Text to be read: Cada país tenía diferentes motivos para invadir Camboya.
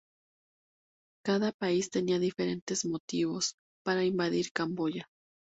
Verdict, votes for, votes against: accepted, 2, 0